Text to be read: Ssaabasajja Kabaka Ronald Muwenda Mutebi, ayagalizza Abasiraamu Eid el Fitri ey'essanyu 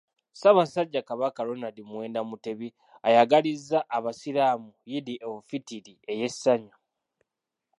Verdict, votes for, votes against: accepted, 2, 1